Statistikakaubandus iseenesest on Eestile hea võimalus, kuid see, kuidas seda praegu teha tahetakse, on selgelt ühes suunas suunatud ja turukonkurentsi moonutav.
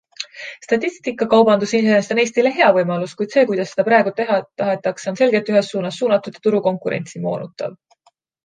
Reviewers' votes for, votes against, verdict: 2, 1, accepted